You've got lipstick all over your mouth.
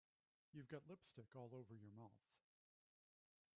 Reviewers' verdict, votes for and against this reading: rejected, 0, 2